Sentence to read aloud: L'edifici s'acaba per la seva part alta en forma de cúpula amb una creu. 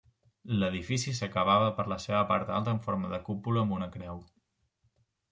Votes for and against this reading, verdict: 1, 2, rejected